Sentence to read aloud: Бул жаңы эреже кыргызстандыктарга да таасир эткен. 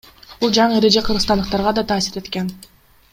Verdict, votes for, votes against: rejected, 2, 3